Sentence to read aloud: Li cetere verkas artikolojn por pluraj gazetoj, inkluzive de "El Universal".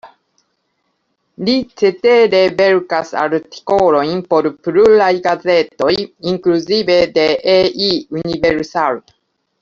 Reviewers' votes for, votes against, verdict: 0, 2, rejected